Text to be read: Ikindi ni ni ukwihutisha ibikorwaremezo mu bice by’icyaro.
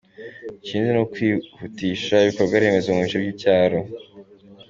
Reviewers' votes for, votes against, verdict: 2, 1, accepted